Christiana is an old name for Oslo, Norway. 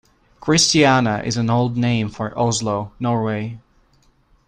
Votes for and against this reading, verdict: 2, 0, accepted